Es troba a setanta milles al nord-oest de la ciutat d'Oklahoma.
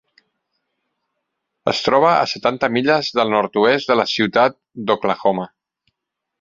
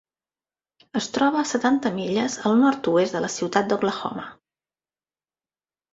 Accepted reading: second